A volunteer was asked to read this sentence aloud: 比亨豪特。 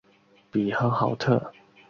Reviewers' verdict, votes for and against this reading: accepted, 2, 0